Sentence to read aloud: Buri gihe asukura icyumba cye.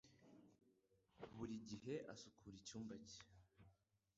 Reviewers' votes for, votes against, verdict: 2, 1, accepted